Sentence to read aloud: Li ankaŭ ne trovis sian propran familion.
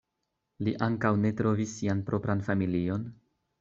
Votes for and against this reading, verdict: 2, 0, accepted